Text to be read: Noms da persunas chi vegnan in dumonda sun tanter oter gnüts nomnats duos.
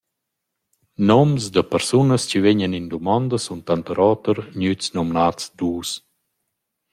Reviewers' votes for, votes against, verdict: 2, 0, accepted